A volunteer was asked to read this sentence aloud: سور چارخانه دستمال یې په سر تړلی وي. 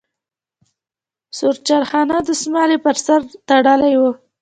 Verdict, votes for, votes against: accepted, 2, 0